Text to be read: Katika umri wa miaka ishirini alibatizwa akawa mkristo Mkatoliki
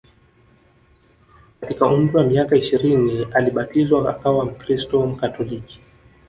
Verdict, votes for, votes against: rejected, 0, 2